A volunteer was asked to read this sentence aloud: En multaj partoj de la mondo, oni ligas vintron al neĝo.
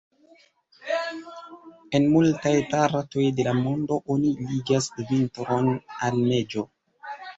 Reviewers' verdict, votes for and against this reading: accepted, 2, 1